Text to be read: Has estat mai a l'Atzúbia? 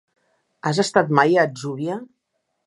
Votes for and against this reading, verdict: 2, 1, accepted